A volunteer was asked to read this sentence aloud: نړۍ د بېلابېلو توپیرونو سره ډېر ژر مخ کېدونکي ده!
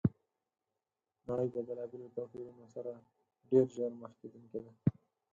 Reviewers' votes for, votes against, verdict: 2, 4, rejected